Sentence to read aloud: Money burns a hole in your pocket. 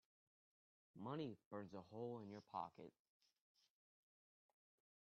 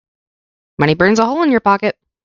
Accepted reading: second